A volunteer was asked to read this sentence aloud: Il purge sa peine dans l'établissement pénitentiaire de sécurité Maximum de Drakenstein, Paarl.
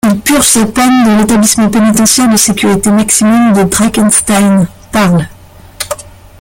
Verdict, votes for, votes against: rejected, 0, 2